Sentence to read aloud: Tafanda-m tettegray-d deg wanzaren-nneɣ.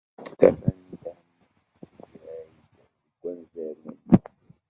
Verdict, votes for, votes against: rejected, 0, 2